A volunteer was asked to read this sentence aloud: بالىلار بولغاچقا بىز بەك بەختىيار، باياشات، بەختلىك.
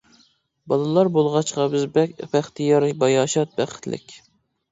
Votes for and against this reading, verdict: 1, 2, rejected